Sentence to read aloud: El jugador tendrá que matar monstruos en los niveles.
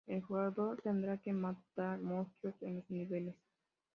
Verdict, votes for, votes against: rejected, 0, 2